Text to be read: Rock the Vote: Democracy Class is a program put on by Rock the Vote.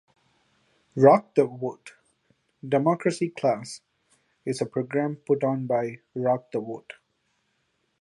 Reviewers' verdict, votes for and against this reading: accepted, 2, 0